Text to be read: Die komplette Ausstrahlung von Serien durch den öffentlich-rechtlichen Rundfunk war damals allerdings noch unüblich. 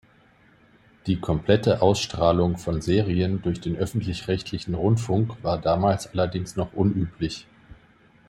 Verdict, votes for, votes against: accepted, 2, 0